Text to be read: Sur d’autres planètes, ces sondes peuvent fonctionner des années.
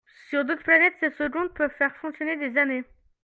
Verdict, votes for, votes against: rejected, 0, 2